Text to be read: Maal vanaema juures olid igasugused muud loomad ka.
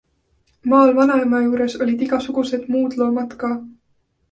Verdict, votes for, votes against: accepted, 2, 0